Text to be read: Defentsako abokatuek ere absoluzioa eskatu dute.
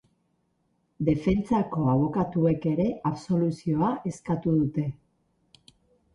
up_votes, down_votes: 4, 0